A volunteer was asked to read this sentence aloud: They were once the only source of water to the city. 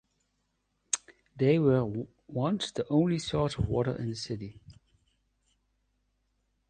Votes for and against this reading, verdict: 1, 2, rejected